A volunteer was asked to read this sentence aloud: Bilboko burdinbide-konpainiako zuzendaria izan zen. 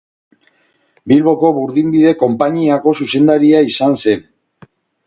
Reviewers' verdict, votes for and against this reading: accepted, 2, 0